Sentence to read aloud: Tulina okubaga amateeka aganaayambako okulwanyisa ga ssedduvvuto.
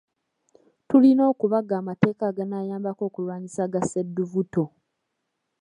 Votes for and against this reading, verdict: 2, 1, accepted